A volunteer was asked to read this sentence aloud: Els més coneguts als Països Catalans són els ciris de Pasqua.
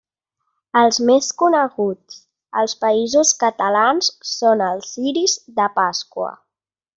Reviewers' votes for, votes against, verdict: 2, 0, accepted